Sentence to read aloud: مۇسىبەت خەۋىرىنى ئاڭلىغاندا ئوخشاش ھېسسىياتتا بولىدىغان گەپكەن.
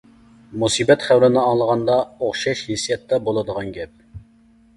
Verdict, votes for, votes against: rejected, 0, 2